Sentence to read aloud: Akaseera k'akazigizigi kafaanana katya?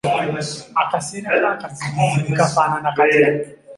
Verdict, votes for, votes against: rejected, 1, 2